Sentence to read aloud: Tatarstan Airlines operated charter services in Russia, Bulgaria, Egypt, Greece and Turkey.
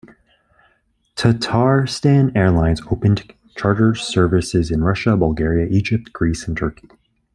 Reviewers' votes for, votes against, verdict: 2, 1, accepted